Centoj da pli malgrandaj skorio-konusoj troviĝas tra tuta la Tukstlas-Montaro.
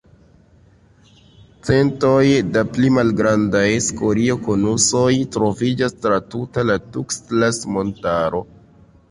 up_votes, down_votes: 1, 2